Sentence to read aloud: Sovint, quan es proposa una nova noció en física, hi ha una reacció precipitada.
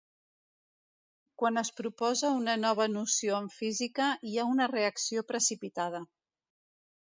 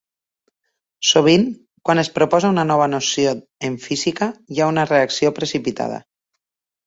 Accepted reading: second